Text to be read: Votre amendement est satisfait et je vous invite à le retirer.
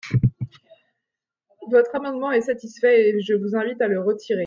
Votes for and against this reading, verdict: 2, 0, accepted